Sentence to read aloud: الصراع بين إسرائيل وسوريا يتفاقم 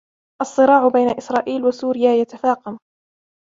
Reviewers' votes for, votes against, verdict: 2, 1, accepted